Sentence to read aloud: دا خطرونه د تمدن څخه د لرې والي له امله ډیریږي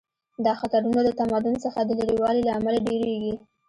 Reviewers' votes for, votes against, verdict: 2, 0, accepted